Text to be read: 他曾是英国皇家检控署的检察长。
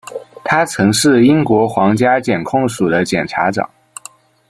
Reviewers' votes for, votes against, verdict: 0, 2, rejected